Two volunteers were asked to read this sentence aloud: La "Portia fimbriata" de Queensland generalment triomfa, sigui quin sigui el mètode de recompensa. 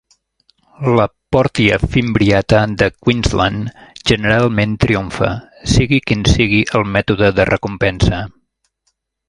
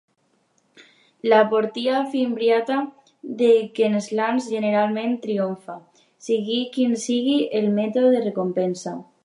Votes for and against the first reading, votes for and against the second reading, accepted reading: 2, 1, 1, 2, first